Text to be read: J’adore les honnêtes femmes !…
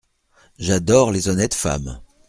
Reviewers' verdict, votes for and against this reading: accepted, 2, 0